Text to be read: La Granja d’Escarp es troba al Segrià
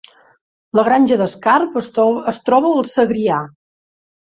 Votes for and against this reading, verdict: 0, 3, rejected